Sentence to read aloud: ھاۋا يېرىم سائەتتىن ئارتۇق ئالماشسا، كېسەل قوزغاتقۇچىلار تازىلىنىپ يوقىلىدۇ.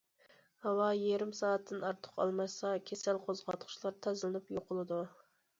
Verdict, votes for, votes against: accepted, 2, 0